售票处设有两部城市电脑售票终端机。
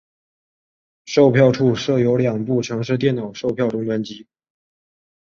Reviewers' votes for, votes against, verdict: 5, 0, accepted